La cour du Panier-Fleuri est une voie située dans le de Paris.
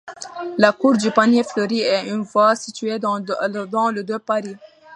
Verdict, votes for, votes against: rejected, 0, 2